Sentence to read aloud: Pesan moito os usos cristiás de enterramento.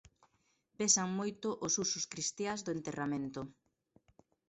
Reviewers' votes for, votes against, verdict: 0, 2, rejected